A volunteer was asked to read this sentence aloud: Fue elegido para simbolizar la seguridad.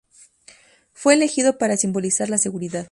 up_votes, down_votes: 4, 0